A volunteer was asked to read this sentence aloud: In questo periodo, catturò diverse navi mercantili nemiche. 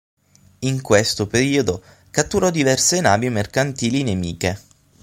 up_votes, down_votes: 6, 0